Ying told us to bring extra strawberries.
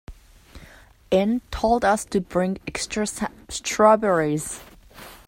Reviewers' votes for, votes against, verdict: 1, 2, rejected